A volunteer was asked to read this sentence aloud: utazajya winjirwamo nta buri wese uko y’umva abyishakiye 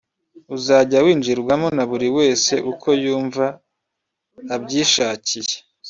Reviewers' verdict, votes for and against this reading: rejected, 0, 2